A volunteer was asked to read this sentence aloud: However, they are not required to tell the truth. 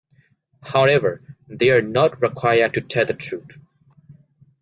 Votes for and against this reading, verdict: 2, 1, accepted